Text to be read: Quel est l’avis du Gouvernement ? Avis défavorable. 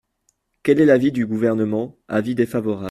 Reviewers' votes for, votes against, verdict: 1, 2, rejected